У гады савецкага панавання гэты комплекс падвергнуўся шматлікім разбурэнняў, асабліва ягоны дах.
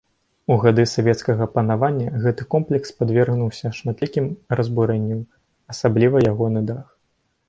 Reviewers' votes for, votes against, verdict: 2, 1, accepted